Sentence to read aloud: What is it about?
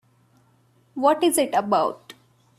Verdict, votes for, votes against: accepted, 2, 0